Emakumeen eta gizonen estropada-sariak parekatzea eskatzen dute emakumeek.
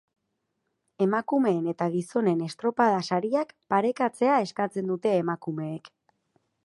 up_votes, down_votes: 6, 0